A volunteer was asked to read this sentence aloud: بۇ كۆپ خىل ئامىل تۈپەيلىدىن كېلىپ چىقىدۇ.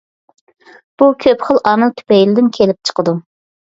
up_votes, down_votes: 3, 0